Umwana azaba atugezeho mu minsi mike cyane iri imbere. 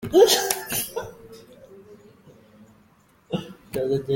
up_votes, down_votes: 0, 2